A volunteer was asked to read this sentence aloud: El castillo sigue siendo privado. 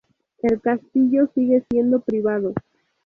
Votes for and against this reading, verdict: 2, 2, rejected